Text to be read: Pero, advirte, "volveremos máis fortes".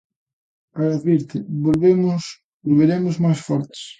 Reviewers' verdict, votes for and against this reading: rejected, 0, 3